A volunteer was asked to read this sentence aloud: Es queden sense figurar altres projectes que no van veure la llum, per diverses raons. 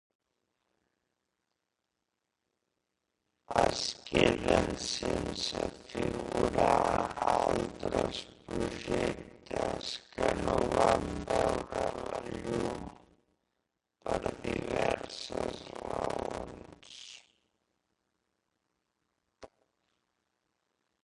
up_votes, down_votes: 0, 2